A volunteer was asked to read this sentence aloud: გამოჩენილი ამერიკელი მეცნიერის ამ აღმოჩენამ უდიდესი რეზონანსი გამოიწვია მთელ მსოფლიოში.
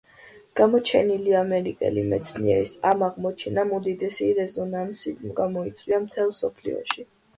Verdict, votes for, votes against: accepted, 2, 0